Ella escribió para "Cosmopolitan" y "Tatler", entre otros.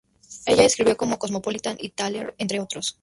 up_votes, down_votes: 0, 2